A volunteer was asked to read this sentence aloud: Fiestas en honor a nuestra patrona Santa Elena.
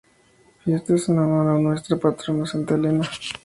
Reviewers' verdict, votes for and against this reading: accepted, 2, 0